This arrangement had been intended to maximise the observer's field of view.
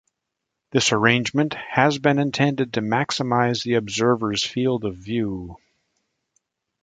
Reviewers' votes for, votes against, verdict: 0, 2, rejected